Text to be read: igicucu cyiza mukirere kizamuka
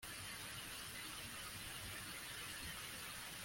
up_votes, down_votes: 0, 2